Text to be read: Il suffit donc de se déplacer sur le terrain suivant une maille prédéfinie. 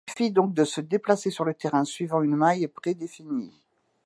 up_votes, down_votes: 1, 2